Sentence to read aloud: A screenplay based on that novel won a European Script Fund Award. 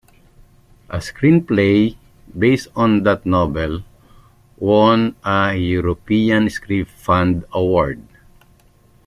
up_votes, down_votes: 2, 0